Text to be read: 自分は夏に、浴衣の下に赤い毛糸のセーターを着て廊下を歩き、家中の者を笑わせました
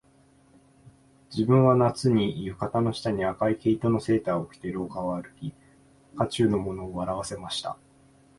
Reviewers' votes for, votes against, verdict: 2, 0, accepted